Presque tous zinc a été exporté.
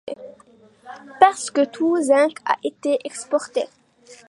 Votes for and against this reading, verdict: 1, 2, rejected